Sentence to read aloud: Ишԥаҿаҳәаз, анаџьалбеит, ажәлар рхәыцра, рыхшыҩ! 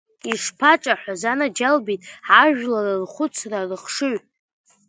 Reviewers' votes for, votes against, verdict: 3, 0, accepted